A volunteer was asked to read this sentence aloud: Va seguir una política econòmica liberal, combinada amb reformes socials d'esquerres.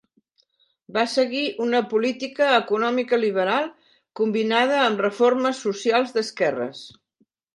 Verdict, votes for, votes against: accepted, 3, 0